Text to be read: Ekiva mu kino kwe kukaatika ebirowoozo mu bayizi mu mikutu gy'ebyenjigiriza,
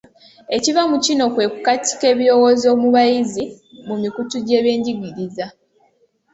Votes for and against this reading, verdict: 2, 0, accepted